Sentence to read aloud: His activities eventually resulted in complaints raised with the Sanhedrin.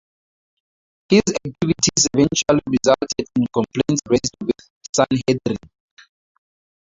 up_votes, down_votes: 0, 2